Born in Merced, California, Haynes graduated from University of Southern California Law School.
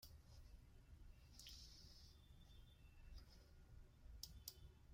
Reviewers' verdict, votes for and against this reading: rejected, 0, 2